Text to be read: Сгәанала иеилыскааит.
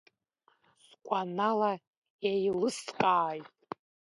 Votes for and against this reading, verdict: 1, 2, rejected